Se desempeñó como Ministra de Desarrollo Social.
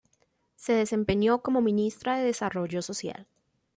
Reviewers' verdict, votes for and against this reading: accepted, 2, 0